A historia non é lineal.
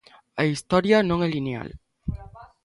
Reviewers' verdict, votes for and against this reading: accepted, 2, 0